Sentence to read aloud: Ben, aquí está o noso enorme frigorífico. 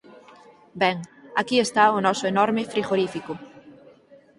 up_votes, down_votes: 4, 0